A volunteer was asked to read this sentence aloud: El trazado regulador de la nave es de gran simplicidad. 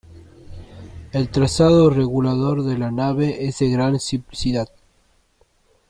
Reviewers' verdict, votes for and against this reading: rejected, 1, 2